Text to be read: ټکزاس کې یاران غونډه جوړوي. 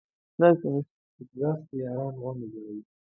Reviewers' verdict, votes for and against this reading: rejected, 1, 4